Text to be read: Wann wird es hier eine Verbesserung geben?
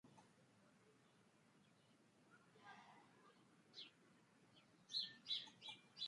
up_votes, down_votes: 0, 3